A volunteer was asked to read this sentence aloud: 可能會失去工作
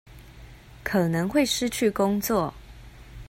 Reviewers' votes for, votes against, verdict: 2, 0, accepted